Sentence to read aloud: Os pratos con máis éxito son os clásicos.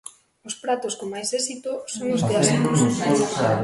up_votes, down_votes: 0, 2